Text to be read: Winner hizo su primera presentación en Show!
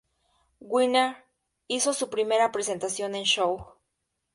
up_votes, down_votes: 2, 0